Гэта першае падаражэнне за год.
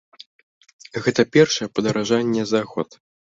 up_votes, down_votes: 2, 0